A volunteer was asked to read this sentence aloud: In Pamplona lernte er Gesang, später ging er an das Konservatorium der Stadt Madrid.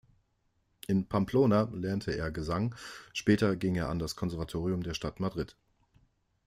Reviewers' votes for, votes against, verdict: 2, 0, accepted